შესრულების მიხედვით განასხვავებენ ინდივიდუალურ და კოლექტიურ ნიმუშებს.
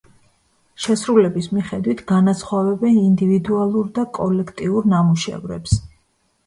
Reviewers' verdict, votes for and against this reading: rejected, 0, 2